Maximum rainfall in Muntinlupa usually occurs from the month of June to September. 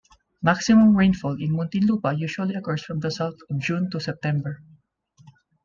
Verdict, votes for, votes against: rejected, 1, 2